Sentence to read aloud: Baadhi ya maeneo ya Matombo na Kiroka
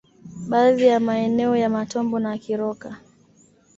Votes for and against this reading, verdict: 2, 0, accepted